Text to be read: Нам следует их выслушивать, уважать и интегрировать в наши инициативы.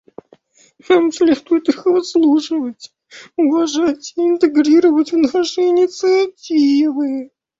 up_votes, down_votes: 2, 0